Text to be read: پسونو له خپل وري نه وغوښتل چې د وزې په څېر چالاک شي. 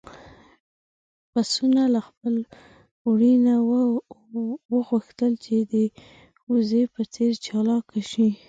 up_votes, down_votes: 0, 2